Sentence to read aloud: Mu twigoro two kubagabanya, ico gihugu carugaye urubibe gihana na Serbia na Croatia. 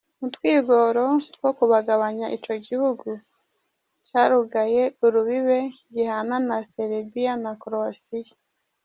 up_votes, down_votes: 2, 1